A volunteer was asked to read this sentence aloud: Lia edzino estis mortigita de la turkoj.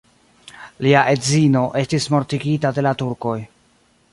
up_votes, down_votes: 2, 0